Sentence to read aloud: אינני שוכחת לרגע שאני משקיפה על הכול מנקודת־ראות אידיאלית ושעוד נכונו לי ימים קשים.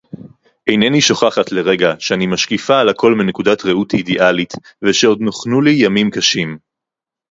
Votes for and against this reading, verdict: 0, 2, rejected